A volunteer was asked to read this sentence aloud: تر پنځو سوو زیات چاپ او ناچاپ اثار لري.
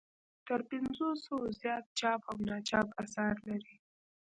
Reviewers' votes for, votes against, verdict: 2, 1, accepted